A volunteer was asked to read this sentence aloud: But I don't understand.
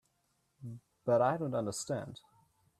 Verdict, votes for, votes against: accepted, 2, 1